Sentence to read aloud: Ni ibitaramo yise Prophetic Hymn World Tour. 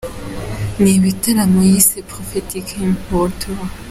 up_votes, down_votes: 2, 0